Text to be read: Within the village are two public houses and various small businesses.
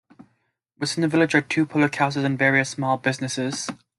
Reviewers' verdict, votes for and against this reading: rejected, 0, 2